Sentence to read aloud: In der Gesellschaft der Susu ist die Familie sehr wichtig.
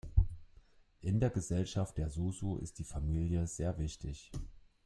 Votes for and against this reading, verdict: 2, 0, accepted